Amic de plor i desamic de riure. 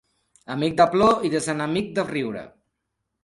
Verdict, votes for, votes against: rejected, 1, 2